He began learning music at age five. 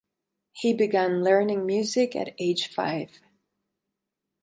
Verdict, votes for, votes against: accepted, 4, 0